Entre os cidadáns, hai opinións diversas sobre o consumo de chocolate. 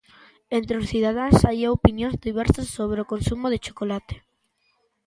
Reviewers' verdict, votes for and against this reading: accepted, 2, 0